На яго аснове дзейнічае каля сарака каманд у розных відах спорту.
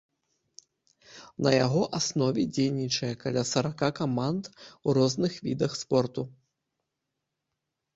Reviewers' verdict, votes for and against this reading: accepted, 2, 0